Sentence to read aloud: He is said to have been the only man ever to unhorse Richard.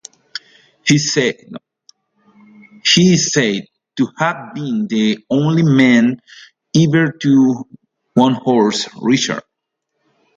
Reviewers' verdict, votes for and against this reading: rejected, 0, 2